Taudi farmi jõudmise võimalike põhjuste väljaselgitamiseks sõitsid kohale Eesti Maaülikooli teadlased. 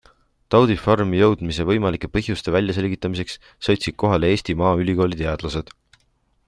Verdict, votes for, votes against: accepted, 2, 0